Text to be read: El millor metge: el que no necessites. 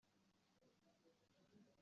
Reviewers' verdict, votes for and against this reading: rejected, 0, 2